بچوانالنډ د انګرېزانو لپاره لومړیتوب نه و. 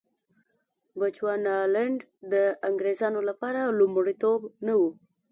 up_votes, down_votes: 1, 2